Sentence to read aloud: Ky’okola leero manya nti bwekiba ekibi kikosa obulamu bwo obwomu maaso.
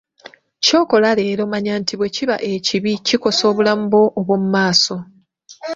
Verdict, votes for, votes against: accepted, 2, 0